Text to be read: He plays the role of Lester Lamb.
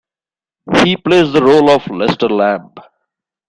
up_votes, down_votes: 2, 1